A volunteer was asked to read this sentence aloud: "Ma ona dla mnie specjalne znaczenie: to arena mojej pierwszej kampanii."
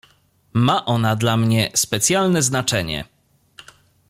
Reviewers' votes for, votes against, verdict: 0, 2, rejected